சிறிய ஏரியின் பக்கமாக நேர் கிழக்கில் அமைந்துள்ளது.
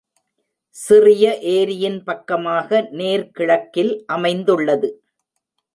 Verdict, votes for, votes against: accepted, 2, 0